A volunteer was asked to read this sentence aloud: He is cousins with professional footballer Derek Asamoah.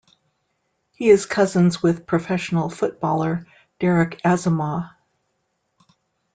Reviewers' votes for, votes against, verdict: 2, 0, accepted